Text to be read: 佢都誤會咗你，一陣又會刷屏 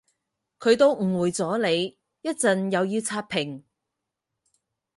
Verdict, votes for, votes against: rejected, 0, 4